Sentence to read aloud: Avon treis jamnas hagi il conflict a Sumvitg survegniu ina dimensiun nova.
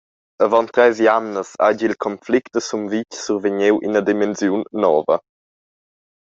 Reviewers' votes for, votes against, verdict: 2, 0, accepted